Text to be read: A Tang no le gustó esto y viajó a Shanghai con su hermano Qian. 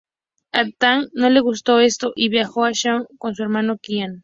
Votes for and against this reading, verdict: 0, 2, rejected